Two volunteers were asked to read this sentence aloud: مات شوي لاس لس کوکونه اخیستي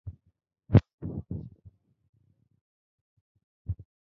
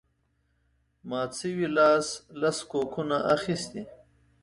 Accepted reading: second